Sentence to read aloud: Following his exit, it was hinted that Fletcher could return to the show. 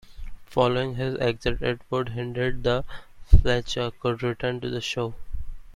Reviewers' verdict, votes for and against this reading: accepted, 2, 1